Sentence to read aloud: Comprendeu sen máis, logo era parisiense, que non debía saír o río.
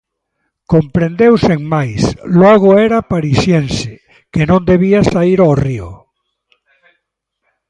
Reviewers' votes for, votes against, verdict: 2, 0, accepted